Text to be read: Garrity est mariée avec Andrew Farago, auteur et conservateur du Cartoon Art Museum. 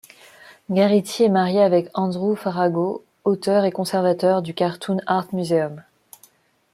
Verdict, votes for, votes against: accepted, 2, 0